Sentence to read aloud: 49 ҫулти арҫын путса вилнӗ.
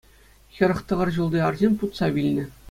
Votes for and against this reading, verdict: 0, 2, rejected